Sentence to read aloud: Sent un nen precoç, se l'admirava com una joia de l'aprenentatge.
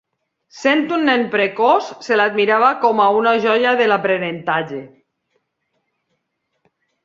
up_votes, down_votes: 2, 3